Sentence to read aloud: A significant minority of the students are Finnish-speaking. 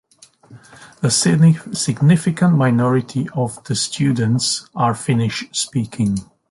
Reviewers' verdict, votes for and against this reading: rejected, 0, 2